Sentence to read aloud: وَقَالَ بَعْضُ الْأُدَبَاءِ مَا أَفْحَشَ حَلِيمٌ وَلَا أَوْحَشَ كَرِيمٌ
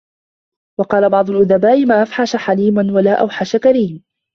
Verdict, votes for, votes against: accepted, 2, 0